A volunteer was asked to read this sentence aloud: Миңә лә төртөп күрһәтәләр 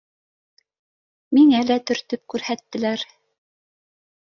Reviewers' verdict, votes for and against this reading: rejected, 1, 2